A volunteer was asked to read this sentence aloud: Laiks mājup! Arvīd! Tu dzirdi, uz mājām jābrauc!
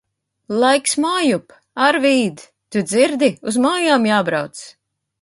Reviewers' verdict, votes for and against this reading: accepted, 2, 0